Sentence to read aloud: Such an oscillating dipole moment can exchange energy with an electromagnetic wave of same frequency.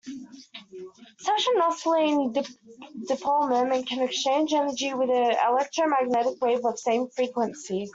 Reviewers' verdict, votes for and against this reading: rejected, 0, 2